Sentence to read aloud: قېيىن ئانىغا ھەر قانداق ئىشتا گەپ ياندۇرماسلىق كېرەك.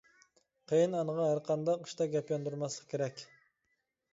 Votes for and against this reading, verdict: 2, 0, accepted